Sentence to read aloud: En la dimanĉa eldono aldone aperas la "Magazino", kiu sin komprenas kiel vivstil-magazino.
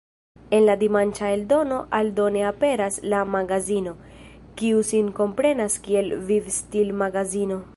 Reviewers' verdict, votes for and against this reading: accepted, 2, 1